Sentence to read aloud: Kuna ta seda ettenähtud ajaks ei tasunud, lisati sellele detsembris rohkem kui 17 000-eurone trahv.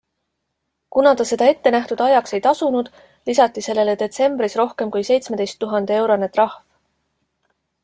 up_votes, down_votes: 0, 2